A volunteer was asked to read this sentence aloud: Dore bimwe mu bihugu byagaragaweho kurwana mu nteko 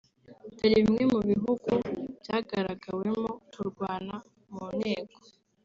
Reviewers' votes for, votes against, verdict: 0, 2, rejected